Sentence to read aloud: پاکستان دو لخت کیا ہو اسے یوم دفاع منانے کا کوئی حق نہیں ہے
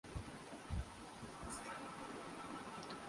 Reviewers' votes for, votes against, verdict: 0, 3, rejected